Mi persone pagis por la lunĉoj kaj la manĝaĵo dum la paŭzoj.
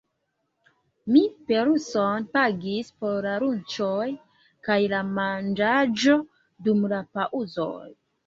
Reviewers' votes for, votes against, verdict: 0, 3, rejected